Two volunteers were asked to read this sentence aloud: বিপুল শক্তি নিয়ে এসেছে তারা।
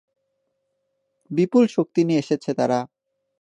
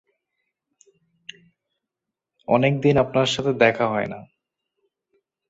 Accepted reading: first